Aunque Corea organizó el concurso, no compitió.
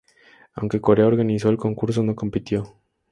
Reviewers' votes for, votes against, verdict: 6, 0, accepted